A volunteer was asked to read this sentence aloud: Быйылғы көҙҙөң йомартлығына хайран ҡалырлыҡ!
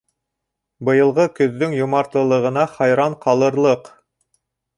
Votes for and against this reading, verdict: 1, 2, rejected